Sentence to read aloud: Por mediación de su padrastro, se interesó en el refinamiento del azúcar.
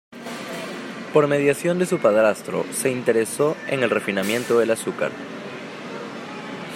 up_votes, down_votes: 2, 0